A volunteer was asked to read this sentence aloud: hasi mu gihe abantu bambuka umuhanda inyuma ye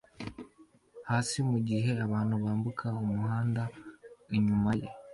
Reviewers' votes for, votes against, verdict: 2, 0, accepted